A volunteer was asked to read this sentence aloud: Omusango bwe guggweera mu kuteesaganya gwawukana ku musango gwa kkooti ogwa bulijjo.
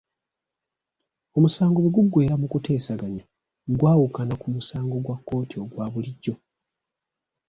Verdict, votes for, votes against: rejected, 0, 2